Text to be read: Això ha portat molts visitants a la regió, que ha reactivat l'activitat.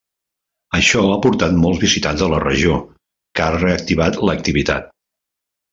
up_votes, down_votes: 2, 0